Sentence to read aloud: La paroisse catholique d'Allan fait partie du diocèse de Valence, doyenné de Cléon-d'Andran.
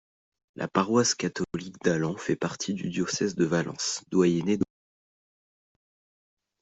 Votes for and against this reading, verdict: 1, 2, rejected